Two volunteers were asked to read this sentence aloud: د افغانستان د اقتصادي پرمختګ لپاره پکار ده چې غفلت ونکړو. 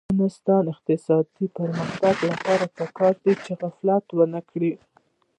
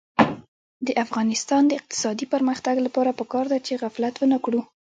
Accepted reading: first